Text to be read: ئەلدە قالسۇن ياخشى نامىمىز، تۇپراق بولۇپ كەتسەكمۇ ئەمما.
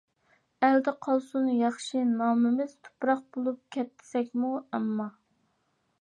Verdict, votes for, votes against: accepted, 2, 0